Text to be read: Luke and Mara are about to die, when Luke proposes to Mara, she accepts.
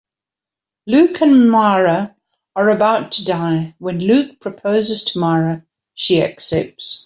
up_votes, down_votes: 2, 0